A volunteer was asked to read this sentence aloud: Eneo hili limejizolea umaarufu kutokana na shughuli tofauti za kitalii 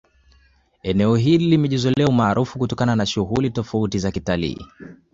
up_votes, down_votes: 2, 0